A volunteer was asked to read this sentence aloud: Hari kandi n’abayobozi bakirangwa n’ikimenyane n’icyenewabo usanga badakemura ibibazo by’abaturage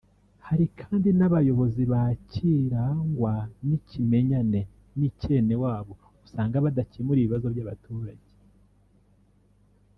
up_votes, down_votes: 1, 2